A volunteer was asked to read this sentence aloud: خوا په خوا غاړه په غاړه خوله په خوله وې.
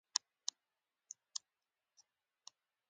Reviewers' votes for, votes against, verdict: 1, 2, rejected